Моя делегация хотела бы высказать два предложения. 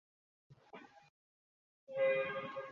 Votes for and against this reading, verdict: 0, 2, rejected